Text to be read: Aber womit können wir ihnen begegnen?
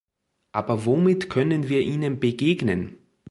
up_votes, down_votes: 3, 0